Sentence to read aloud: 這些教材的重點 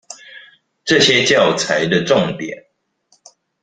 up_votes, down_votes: 2, 0